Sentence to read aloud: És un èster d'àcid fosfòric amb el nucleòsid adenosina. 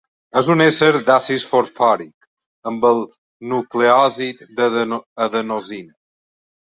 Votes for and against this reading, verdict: 0, 3, rejected